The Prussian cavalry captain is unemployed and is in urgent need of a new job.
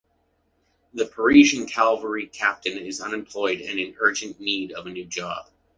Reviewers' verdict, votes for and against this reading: rejected, 0, 2